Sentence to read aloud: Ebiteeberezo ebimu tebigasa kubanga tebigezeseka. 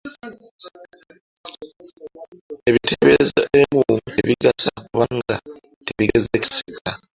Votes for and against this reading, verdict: 2, 0, accepted